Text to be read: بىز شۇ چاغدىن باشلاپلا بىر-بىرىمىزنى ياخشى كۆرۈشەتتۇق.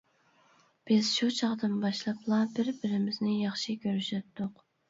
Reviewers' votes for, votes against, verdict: 2, 0, accepted